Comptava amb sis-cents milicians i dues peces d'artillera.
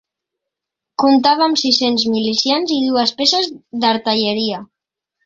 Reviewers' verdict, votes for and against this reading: rejected, 0, 2